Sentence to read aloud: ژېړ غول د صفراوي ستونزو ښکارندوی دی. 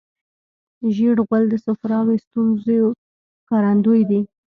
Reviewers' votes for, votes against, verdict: 0, 2, rejected